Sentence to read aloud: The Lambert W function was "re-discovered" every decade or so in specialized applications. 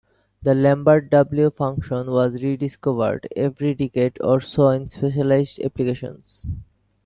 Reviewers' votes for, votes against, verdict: 2, 0, accepted